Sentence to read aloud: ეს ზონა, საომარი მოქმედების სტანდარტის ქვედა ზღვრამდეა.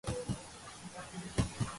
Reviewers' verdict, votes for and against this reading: rejected, 0, 3